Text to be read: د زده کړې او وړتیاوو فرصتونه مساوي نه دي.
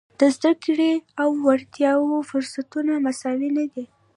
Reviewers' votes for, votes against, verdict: 2, 1, accepted